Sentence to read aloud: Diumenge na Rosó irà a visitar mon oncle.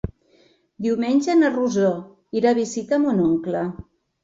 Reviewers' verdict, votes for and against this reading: accepted, 2, 0